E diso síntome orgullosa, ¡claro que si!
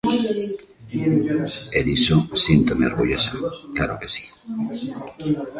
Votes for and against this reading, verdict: 1, 2, rejected